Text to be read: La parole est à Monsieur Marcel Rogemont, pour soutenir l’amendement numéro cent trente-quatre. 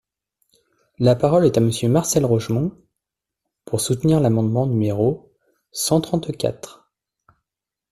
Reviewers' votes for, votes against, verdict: 2, 0, accepted